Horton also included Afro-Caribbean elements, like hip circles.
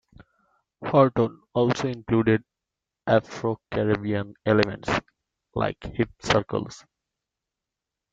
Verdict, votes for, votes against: accepted, 2, 1